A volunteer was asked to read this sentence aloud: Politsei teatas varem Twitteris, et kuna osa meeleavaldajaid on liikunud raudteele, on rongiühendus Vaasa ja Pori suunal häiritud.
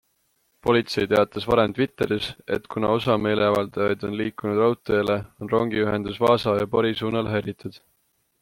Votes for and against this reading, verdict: 2, 0, accepted